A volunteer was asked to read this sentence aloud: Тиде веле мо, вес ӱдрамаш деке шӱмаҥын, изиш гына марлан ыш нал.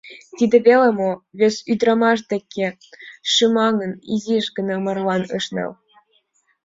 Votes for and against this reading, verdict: 2, 1, accepted